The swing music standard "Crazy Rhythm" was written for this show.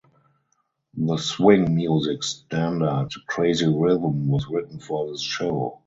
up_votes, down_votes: 0, 4